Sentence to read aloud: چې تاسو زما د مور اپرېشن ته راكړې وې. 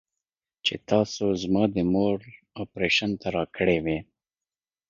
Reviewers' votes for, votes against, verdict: 2, 0, accepted